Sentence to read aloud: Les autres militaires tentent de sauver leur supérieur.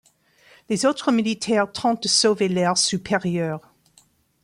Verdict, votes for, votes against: rejected, 1, 2